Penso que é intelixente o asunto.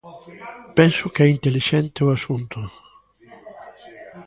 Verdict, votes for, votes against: rejected, 1, 2